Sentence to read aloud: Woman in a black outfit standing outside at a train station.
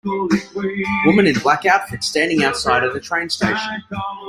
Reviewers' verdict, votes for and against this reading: rejected, 1, 2